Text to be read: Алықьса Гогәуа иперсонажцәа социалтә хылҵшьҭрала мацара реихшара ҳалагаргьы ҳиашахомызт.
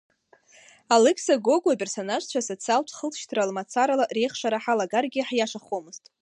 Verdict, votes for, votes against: rejected, 0, 2